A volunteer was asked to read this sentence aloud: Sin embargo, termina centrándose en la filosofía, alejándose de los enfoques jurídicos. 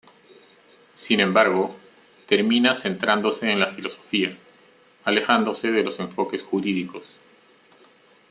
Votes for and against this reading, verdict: 2, 0, accepted